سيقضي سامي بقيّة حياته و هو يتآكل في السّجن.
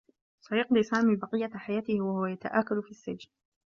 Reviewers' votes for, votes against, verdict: 2, 1, accepted